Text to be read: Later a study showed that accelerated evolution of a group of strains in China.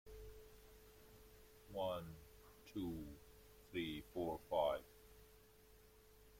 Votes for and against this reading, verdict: 1, 2, rejected